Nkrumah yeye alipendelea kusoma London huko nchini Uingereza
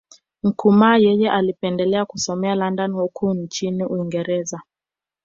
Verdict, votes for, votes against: accepted, 2, 0